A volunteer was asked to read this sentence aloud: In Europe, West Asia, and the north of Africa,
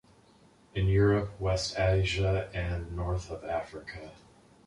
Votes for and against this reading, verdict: 1, 2, rejected